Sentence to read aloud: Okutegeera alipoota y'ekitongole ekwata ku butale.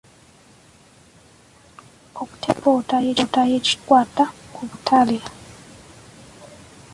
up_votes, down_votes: 0, 3